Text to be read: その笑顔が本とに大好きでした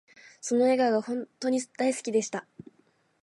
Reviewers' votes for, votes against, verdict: 2, 1, accepted